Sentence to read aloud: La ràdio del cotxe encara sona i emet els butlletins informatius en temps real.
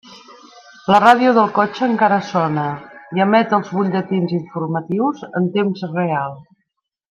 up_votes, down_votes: 3, 1